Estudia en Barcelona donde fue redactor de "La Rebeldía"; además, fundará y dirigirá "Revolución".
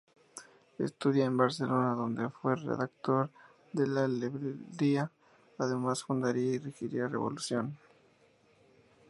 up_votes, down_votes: 0, 2